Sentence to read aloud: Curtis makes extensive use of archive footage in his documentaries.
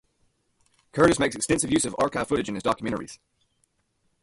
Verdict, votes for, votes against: accepted, 2, 0